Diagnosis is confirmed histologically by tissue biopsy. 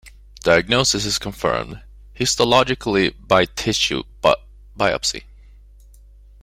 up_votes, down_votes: 0, 2